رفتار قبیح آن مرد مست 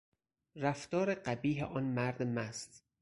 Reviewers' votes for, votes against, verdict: 4, 0, accepted